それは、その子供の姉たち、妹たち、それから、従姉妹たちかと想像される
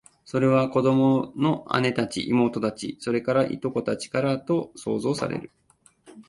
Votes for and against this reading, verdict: 2, 1, accepted